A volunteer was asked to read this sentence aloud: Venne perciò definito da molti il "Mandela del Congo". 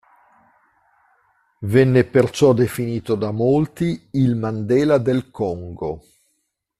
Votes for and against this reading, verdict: 2, 0, accepted